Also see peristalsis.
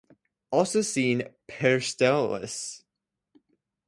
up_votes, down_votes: 0, 2